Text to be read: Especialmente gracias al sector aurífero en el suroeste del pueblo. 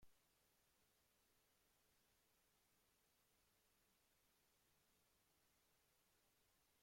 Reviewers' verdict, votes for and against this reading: rejected, 0, 2